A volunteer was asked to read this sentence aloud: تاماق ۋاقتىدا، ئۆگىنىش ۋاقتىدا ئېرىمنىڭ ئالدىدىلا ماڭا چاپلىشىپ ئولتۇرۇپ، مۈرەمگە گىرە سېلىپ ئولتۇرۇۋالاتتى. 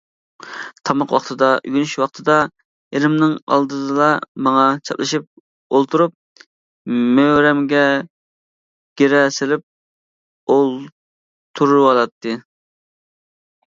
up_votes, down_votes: 1, 2